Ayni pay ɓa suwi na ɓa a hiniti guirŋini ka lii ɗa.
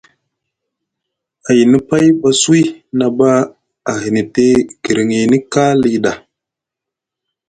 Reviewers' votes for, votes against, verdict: 2, 0, accepted